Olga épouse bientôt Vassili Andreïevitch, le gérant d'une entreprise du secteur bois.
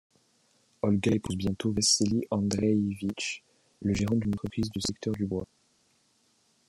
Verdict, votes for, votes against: rejected, 1, 2